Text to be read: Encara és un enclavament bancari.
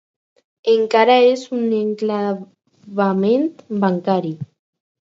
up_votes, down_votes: 2, 4